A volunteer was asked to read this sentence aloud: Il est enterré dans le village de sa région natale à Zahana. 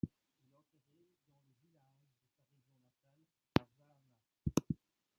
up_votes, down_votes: 1, 2